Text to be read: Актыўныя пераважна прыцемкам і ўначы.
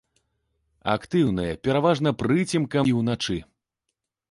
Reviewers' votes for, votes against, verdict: 2, 0, accepted